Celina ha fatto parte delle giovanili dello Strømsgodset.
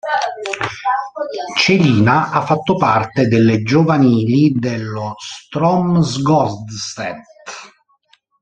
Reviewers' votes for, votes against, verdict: 1, 2, rejected